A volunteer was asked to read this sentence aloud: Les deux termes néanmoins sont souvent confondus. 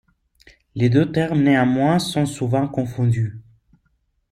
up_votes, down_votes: 2, 1